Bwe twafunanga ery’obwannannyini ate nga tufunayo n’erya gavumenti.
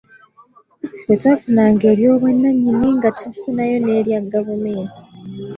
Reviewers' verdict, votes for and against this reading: rejected, 1, 2